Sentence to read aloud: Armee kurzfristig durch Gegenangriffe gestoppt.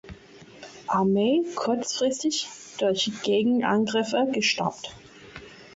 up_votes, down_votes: 2, 0